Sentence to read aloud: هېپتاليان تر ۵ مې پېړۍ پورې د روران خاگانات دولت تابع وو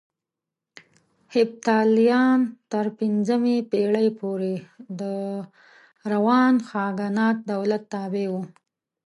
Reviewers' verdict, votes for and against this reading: rejected, 0, 2